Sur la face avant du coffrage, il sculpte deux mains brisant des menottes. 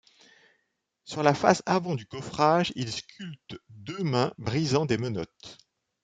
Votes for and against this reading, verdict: 3, 0, accepted